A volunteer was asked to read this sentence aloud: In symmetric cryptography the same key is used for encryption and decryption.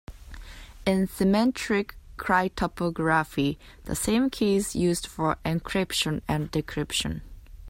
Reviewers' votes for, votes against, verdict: 0, 2, rejected